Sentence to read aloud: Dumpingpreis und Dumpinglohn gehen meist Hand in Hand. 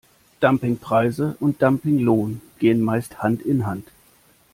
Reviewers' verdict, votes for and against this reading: rejected, 0, 2